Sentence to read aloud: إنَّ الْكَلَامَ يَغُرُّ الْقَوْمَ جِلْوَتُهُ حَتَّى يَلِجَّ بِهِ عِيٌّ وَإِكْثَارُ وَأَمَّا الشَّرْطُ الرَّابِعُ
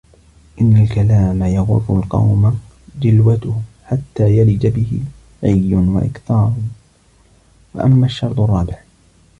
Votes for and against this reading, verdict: 1, 2, rejected